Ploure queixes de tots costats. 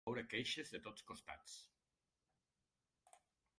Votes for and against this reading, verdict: 1, 2, rejected